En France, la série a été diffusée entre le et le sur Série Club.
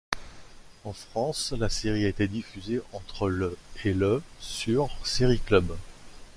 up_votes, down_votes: 2, 0